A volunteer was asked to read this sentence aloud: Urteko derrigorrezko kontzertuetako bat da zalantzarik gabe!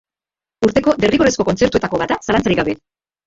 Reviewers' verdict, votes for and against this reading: rejected, 0, 3